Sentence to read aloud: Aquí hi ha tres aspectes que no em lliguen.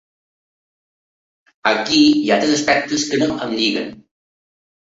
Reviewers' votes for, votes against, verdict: 2, 0, accepted